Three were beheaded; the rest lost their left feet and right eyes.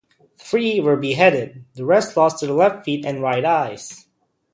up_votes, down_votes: 2, 0